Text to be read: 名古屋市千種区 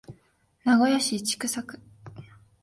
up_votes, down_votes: 3, 0